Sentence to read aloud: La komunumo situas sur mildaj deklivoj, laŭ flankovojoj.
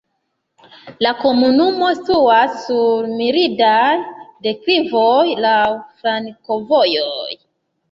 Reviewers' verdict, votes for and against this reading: rejected, 0, 2